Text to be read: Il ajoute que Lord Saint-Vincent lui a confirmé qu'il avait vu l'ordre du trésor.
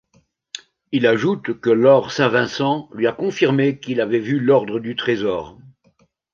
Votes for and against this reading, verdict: 1, 2, rejected